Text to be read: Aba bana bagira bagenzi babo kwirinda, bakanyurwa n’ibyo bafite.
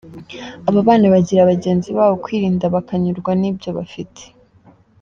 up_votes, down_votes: 2, 0